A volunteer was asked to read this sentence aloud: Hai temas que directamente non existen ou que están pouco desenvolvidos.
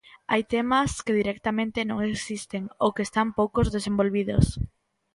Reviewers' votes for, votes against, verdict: 0, 2, rejected